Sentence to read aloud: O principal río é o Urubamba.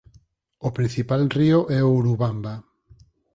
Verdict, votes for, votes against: accepted, 4, 0